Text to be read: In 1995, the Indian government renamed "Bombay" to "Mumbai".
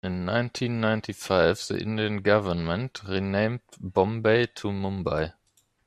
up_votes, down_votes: 0, 2